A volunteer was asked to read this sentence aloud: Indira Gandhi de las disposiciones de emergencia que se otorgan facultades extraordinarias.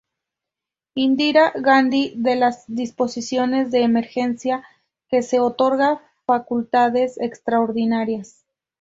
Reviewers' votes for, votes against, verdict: 0, 2, rejected